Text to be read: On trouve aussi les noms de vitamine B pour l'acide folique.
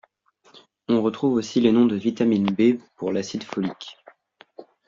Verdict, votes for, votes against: rejected, 0, 2